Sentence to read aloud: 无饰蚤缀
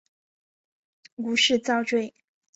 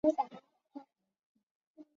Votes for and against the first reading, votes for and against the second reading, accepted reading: 2, 0, 0, 2, first